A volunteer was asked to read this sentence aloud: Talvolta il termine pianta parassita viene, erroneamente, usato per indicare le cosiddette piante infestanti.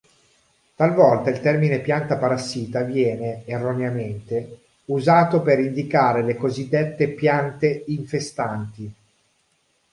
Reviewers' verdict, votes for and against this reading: accepted, 2, 0